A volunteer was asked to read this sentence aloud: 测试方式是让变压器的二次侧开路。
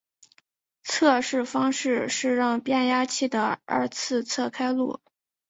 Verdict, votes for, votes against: accepted, 4, 0